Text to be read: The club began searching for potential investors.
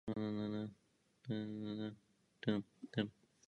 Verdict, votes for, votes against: rejected, 0, 2